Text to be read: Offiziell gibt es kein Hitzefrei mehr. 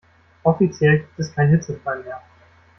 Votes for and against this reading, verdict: 0, 2, rejected